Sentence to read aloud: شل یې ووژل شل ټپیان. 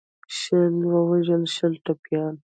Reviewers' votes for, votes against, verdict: 0, 2, rejected